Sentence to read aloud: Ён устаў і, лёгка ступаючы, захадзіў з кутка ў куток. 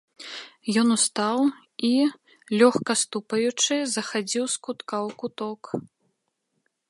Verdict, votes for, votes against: accepted, 2, 1